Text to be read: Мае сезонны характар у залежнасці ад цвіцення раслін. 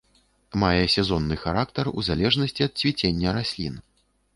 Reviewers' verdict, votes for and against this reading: accepted, 2, 0